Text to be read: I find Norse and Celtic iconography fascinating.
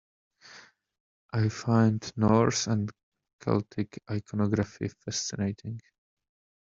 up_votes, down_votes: 0, 2